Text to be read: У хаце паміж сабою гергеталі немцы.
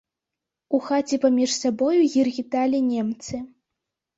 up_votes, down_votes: 2, 0